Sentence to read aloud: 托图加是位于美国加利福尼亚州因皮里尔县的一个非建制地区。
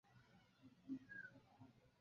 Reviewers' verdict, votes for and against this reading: rejected, 1, 4